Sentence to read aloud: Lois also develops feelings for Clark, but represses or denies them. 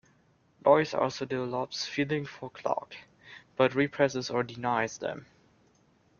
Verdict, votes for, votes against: accepted, 2, 1